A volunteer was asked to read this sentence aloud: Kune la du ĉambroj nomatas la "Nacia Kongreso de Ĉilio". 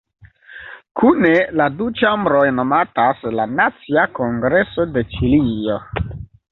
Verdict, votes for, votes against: accepted, 2, 0